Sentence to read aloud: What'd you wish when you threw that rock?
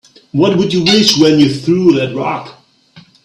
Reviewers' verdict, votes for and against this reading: rejected, 1, 2